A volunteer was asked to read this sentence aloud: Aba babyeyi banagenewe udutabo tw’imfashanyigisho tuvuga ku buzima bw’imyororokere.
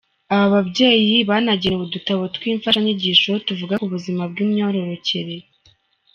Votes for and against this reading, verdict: 2, 0, accepted